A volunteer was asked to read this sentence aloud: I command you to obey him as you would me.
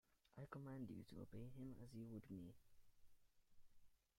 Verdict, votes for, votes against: rejected, 0, 2